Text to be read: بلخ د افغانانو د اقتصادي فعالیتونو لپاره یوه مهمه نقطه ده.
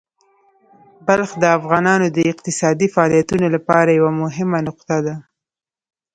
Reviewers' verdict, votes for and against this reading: accepted, 3, 0